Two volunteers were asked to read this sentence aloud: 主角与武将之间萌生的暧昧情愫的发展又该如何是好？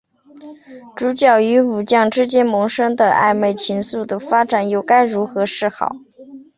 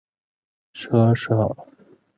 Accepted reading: first